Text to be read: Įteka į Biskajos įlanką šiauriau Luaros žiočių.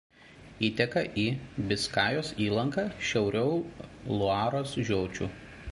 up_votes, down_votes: 2, 1